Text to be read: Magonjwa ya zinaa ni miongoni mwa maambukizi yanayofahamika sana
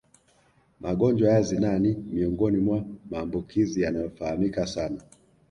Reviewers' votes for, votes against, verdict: 1, 2, rejected